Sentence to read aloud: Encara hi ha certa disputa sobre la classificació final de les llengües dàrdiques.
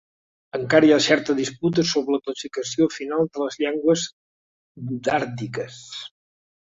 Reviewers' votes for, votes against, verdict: 3, 0, accepted